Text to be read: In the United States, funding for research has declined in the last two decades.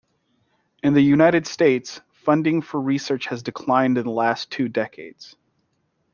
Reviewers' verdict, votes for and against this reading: accepted, 2, 0